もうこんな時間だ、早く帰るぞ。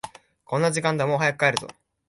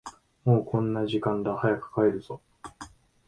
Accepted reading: second